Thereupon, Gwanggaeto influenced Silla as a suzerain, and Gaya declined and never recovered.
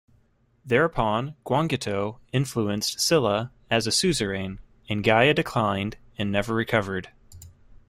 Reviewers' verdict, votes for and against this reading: rejected, 1, 2